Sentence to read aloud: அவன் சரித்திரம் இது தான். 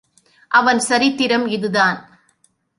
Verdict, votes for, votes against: rejected, 1, 2